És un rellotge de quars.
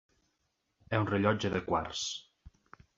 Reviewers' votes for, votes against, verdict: 2, 0, accepted